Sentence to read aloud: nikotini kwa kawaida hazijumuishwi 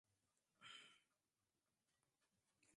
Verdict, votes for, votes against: rejected, 0, 2